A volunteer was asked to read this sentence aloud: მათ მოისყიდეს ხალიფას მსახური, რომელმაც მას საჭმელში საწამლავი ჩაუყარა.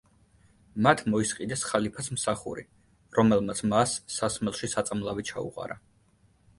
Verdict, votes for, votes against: rejected, 0, 2